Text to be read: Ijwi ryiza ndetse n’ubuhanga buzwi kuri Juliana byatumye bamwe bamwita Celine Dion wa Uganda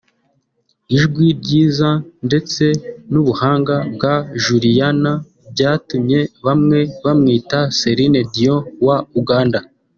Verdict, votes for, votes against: rejected, 0, 2